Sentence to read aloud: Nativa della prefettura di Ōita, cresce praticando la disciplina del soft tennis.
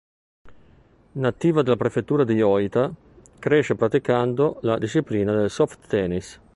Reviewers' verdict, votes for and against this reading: accepted, 2, 0